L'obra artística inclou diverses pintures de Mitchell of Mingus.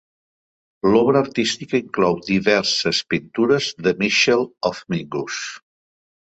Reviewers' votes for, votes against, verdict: 2, 0, accepted